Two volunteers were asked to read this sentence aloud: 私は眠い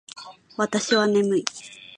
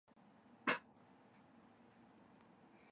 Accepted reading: first